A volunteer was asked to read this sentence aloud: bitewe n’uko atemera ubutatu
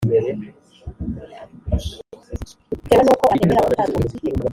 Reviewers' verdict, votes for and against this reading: rejected, 1, 3